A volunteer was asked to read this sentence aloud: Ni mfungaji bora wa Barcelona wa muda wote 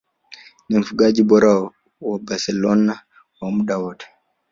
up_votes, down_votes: 2, 3